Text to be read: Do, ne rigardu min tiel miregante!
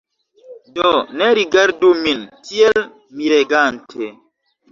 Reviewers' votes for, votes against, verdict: 0, 2, rejected